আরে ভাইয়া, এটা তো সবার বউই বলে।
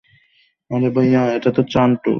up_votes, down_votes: 0, 3